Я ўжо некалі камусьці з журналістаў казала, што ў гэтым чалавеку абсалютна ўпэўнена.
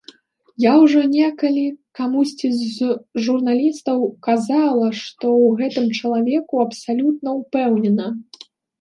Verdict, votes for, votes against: rejected, 1, 2